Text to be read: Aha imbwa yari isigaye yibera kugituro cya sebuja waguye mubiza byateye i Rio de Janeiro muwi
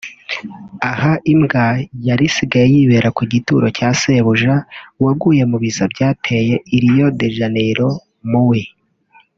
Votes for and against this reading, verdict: 2, 0, accepted